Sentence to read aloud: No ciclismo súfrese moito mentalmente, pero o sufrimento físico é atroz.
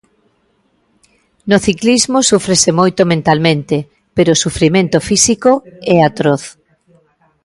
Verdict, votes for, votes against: accepted, 2, 0